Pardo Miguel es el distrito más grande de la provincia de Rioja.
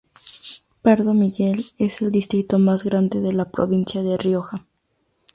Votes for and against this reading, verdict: 2, 0, accepted